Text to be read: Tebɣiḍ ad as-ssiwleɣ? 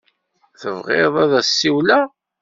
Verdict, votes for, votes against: accepted, 2, 0